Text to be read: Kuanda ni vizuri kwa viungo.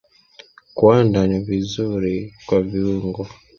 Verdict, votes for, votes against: accepted, 5, 0